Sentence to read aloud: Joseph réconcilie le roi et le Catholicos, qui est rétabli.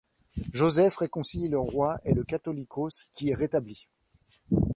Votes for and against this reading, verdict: 2, 1, accepted